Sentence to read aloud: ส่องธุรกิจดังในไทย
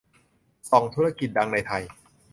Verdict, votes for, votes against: accepted, 2, 0